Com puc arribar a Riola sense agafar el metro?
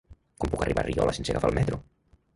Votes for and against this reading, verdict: 0, 3, rejected